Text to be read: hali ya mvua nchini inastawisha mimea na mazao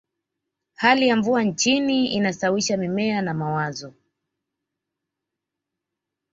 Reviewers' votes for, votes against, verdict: 1, 2, rejected